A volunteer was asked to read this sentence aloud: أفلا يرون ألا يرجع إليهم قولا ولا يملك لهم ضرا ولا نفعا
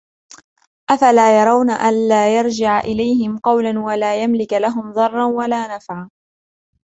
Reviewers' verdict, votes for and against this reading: rejected, 1, 2